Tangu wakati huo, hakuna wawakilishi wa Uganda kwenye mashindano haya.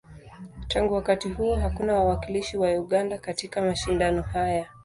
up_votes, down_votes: 0, 2